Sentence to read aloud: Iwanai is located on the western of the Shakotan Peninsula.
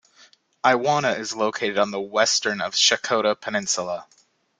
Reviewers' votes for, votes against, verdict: 0, 2, rejected